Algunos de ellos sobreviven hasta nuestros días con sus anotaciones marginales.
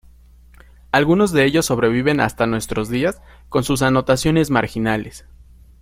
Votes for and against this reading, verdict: 2, 0, accepted